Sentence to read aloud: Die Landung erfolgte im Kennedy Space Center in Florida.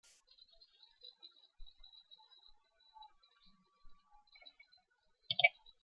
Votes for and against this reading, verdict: 0, 2, rejected